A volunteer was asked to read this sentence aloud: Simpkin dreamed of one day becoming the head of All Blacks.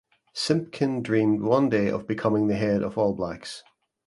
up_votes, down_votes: 1, 2